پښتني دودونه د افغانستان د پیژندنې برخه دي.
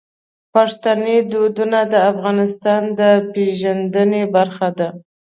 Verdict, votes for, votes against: accepted, 2, 0